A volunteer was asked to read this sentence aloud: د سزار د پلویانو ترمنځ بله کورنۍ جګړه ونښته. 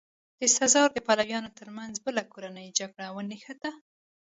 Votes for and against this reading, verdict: 2, 0, accepted